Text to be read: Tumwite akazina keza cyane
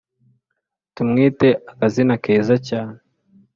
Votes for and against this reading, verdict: 3, 0, accepted